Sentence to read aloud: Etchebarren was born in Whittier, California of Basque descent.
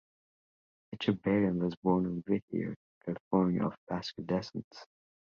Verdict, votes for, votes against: accepted, 2, 0